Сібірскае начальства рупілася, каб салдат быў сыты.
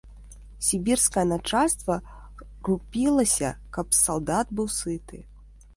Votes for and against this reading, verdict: 2, 1, accepted